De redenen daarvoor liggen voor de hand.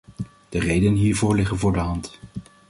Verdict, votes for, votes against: rejected, 1, 2